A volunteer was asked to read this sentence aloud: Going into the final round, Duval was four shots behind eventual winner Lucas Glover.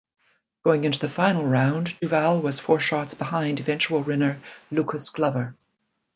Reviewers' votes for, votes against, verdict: 2, 0, accepted